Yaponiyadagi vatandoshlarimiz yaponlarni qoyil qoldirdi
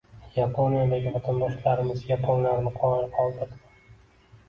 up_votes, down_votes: 2, 0